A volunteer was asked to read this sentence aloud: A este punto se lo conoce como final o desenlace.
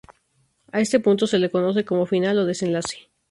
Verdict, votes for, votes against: rejected, 0, 2